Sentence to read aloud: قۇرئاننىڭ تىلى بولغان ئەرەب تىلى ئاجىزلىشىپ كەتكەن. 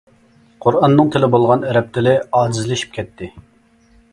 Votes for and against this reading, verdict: 1, 2, rejected